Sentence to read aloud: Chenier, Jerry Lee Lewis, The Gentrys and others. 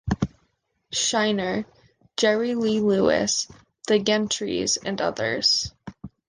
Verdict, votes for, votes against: rejected, 1, 2